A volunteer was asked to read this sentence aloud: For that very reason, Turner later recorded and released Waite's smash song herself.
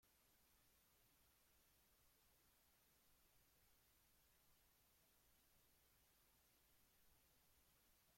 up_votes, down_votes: 0, 2